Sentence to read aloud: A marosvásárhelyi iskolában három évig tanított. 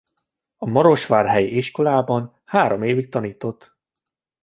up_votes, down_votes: 0, 2